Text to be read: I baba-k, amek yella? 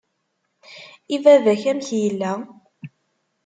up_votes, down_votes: 2, 0